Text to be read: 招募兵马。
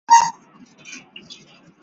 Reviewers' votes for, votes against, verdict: 0, 2, rejected